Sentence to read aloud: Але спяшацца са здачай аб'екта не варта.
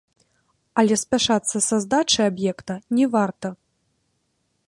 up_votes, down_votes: 2, 3